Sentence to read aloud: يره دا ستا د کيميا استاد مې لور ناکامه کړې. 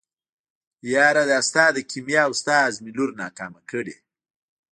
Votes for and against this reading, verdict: 1, 2, rejected